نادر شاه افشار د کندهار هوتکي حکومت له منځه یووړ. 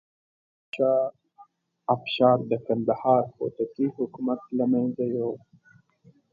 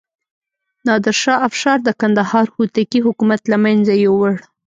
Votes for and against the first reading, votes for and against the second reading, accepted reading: 1, 2, 2, 0, second